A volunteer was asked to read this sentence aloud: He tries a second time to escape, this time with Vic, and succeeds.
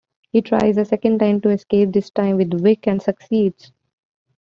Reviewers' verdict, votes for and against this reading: accepted, 2, 0